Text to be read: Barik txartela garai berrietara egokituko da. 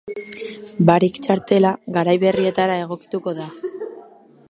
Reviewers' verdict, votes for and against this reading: rejected, 0, 3